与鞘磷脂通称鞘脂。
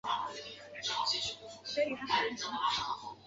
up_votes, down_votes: 0, 6